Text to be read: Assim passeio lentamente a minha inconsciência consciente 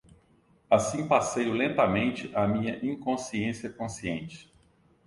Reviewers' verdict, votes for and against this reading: accepted, 2, 0